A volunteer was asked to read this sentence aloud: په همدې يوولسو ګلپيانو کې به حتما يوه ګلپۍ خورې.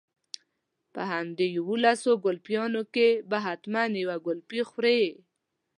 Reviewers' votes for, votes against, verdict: 2, 0, accepted